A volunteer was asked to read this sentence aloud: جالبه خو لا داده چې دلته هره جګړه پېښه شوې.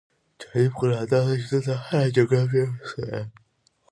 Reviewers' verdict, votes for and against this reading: rejected, 0, 2